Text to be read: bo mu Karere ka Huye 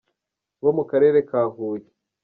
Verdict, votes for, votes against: rejected, 1, 2